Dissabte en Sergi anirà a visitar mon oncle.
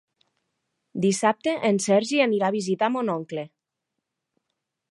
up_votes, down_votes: 3, 0